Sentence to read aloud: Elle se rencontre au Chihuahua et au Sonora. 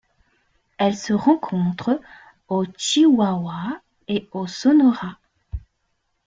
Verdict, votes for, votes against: rejected, 0, 2